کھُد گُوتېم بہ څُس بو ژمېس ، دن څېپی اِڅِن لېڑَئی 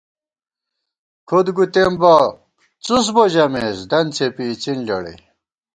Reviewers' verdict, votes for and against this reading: accepted, 2, 0